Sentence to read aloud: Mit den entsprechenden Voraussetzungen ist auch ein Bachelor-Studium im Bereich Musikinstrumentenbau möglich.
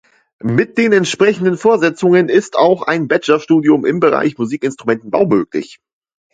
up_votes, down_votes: 0, 2